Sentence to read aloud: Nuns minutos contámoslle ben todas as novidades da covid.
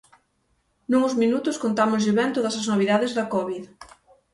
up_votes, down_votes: 3, 6